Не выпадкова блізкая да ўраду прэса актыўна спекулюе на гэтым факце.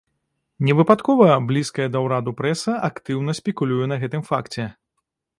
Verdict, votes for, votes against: accepted, 2, 0